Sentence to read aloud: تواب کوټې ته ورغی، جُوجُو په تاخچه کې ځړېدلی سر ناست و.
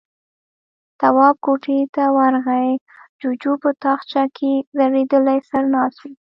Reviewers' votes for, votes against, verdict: 2, 0, accepted